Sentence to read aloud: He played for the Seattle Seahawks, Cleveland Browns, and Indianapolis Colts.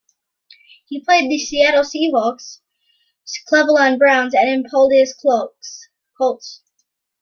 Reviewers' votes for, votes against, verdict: 1, 2, rejected